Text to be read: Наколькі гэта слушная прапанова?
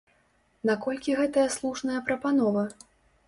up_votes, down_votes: 0, 2